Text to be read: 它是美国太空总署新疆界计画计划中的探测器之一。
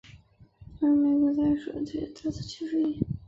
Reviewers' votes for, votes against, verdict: 0, 2, rejected